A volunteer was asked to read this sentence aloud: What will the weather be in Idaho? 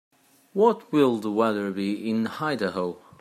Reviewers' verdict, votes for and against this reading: accepted, 2, 1